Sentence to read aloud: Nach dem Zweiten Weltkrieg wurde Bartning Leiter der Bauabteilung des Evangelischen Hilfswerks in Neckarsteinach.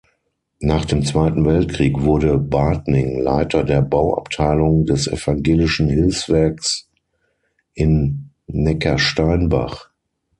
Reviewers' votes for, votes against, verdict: 3, 6, rejected